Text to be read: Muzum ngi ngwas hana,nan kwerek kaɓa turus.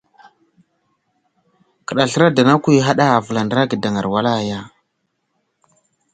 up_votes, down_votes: 0, 2